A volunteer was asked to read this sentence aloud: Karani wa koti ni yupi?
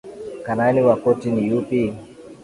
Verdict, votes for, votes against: accepted, 2, 0